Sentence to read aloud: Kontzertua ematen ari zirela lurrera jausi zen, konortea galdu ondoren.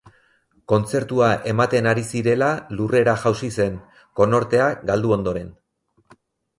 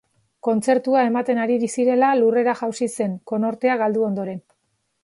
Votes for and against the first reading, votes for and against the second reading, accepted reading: 4, 0, 2, 4, first